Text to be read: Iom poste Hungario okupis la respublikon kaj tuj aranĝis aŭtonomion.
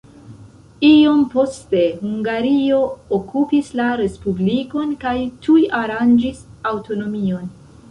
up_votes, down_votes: 1, 2